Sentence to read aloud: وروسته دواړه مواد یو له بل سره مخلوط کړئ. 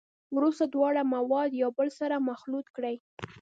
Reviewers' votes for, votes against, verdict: 1, 2, rejected